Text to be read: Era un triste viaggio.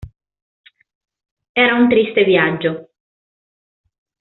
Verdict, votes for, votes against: accepted, 2, 0